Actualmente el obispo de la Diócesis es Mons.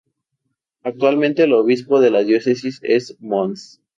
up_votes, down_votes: 4, 0